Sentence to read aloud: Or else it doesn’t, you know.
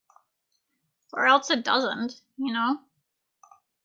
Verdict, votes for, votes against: accepted, 2, 0